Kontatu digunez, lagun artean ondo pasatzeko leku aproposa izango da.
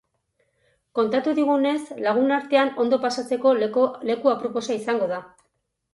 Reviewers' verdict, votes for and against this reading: rejected, 0, 4